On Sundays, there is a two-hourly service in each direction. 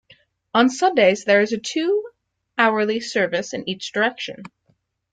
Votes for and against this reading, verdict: 2, 0, accepted